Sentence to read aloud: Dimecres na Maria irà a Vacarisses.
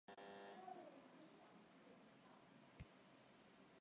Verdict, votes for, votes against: rejected, 0, 2